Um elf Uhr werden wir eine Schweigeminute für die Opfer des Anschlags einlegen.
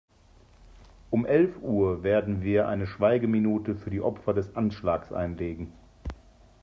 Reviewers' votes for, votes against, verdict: 2, 0, accepted